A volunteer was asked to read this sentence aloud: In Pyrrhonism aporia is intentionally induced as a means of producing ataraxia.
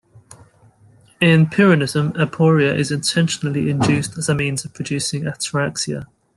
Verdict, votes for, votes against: rejected, 1, 2